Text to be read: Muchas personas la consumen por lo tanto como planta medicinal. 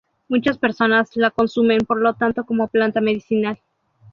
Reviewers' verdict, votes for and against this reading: accepted, 2, 0